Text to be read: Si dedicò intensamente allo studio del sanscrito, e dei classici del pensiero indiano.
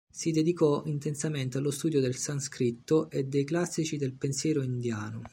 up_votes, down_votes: 0, 2